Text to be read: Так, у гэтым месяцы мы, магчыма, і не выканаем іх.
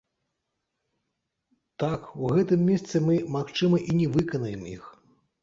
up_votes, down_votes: 1, 2